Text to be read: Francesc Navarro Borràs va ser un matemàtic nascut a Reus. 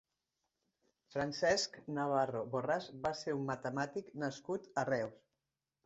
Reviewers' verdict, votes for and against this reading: accepted, 5, 0